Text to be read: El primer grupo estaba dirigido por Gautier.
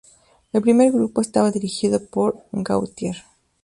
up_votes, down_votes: 2, 0